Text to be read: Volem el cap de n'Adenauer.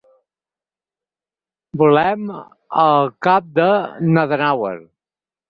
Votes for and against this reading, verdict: 4, 0, accepted